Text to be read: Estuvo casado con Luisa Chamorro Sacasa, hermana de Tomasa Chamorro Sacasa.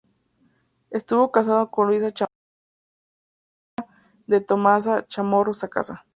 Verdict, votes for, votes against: rejected, 0, 2